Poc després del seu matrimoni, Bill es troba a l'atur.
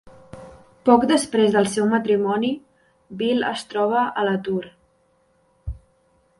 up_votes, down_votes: 2, 0